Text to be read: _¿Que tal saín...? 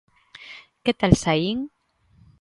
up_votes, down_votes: 3, 0